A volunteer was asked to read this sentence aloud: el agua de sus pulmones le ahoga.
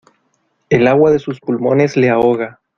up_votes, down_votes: 2, 0